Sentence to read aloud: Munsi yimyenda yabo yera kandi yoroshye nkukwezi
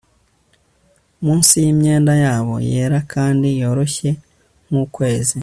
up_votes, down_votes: 2, 1